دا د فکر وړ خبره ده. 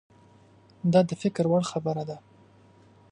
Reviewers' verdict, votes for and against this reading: accepted, 2, 0